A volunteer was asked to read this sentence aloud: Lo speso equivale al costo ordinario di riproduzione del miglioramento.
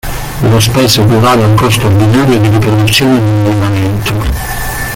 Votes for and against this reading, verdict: 0, 2, rejected